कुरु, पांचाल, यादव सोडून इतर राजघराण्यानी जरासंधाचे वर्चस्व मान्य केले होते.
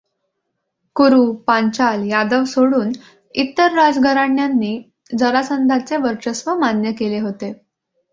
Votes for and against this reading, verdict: 2, 0, accepted